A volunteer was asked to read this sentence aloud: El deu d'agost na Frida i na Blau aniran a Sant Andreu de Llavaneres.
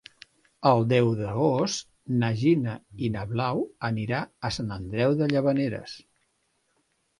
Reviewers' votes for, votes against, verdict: 0, 2, rejected